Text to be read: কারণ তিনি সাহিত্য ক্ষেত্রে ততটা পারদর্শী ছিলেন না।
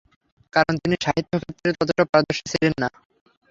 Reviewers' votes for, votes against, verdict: 0, 3, rejected